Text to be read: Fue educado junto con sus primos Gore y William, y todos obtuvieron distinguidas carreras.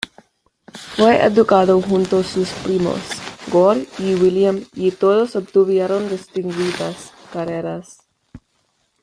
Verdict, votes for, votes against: rejected, 1, 2